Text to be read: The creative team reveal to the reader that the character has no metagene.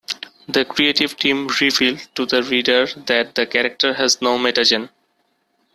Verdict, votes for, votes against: rejected, 1, 2